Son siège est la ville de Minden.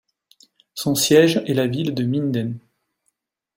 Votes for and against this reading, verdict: 2, 0, accepted